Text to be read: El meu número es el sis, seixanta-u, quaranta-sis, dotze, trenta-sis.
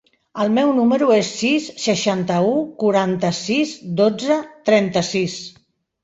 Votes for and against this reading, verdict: 0, 2, rejected